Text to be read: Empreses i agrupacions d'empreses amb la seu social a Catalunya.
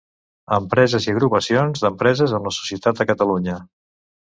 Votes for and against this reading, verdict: 0, 3, rejected